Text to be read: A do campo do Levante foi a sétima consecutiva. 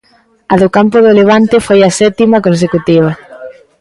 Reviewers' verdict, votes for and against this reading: accepted, 2, 0